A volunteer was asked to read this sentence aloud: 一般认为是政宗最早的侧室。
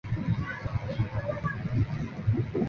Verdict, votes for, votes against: rejected, 0, 2